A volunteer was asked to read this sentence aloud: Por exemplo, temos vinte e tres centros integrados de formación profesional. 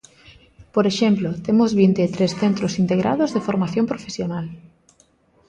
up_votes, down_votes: 2, 0